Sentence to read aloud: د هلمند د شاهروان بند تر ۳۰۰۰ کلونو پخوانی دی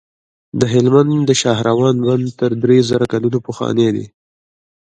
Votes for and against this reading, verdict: 0, 2, rejected